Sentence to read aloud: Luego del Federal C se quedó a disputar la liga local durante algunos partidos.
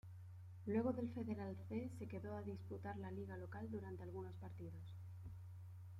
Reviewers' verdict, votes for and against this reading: accepted, 2, 0